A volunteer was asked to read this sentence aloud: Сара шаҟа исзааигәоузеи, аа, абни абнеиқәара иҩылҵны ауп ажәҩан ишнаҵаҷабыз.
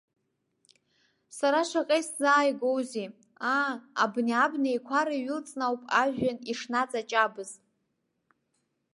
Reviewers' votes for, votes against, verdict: 2, 0, accepted